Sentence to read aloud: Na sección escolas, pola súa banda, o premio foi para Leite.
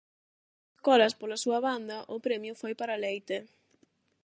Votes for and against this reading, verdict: 0, 8, rejected